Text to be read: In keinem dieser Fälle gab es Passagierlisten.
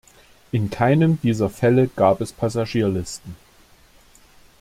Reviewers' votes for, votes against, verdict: 2, 0, accepted